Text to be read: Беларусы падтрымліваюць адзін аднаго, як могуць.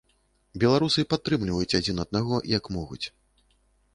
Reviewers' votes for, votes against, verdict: 2, 0, accepted